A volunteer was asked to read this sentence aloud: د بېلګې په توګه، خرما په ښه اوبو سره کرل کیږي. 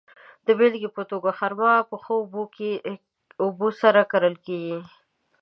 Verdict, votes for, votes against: rejected, 0, 2